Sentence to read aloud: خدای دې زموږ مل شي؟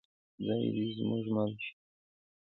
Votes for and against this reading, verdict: 2, 0, accepted